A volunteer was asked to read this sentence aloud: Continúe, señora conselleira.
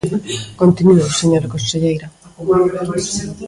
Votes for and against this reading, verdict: 0, 2, rejected